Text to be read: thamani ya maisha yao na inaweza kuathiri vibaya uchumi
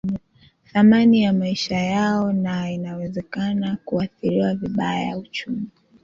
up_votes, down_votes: 0, 2